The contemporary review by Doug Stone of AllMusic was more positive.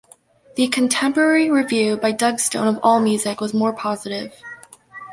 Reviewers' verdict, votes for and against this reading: accepted, 2, 0